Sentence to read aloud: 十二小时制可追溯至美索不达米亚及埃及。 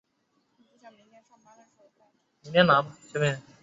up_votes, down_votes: 1, 4